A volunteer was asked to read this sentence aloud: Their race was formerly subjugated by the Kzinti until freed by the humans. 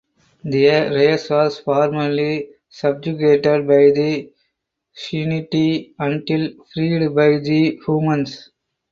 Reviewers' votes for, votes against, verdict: 4, 2, accepted